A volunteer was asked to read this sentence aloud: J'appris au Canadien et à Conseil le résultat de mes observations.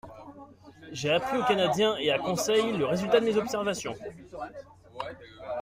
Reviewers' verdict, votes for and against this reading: rejected, 0, 2